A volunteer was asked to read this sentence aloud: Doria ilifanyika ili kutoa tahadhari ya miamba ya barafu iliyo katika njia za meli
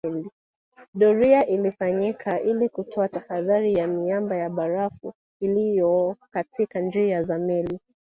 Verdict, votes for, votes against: rejected, 1, 2